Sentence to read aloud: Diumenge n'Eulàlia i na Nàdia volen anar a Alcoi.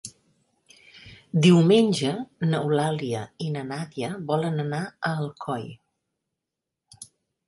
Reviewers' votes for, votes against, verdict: 2, 0, accepted